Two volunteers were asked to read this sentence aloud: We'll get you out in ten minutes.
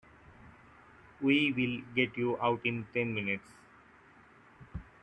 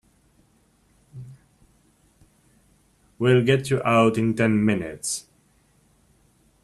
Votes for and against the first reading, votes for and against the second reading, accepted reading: 0, 2, 2, 1, second